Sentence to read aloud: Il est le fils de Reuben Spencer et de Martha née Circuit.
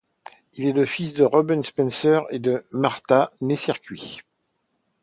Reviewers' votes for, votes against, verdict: 2, 0, accepted